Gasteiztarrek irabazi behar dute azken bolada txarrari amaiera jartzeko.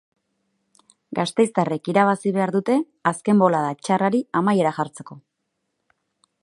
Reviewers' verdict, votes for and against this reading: accepted, 2, 0